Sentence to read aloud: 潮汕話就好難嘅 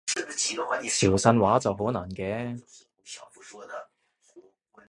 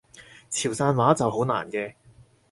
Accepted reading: second